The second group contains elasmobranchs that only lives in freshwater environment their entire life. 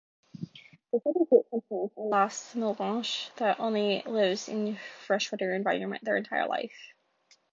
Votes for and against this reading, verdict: 2, 0, accepted